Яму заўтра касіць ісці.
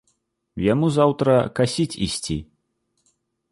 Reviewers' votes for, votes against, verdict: 2, 0, accepted